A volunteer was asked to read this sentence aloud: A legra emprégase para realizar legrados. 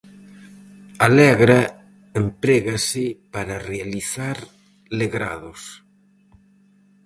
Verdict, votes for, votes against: accepted, 4, 0